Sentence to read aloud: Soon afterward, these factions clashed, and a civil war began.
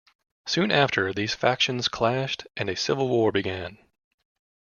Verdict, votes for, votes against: rejected, 1, 2